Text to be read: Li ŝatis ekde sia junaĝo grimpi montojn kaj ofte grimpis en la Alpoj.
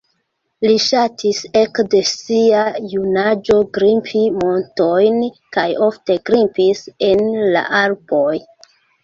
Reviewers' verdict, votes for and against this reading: accepted, 2, 1